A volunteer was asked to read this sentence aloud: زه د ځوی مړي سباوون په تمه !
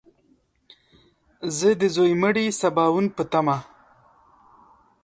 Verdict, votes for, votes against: accepted, 2, 0